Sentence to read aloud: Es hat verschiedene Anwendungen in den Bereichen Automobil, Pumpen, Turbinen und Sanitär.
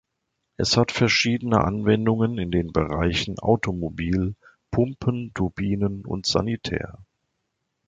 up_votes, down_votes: 2, 0